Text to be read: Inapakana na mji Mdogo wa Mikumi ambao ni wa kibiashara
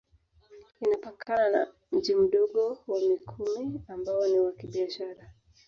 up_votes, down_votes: 1, 2